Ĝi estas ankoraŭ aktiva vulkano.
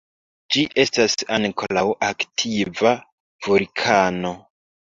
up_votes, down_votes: 1, 2